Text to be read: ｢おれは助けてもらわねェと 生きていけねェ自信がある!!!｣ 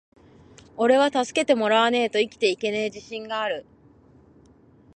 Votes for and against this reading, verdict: 2, 0, accepted